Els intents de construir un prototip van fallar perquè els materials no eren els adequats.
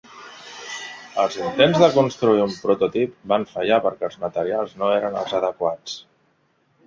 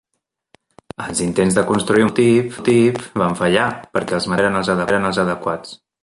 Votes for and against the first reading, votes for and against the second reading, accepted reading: 3, 0, 0, 2, first